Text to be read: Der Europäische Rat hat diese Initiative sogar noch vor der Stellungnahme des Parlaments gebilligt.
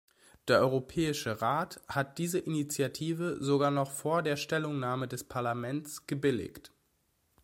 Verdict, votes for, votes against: accepted, 2, 0